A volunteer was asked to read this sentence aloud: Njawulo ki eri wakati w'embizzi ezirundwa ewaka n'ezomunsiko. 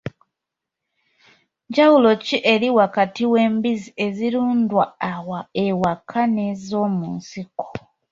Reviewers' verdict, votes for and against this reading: accepted, 2, 0